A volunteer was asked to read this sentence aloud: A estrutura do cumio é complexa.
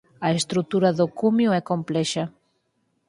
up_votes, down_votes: 4, 0